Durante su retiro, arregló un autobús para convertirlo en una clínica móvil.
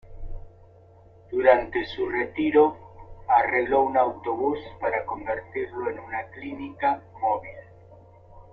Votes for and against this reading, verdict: 0, 2, rejected